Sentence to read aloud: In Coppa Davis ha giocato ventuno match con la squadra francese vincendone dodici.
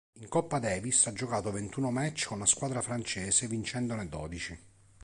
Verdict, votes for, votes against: accepted, 2, 0